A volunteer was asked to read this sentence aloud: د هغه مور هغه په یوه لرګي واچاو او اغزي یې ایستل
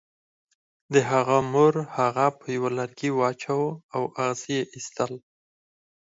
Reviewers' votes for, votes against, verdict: 2, 4, rejected